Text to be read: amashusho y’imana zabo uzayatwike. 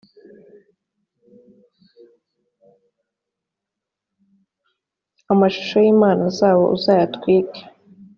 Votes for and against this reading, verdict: 3, 0, accepted